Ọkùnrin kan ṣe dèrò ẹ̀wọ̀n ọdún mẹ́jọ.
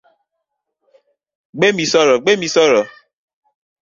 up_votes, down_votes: 0, 2